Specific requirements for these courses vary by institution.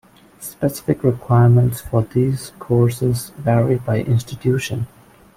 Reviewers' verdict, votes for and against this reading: rejected, 0, 2